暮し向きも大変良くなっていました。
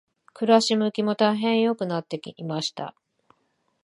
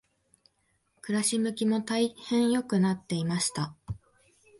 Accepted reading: second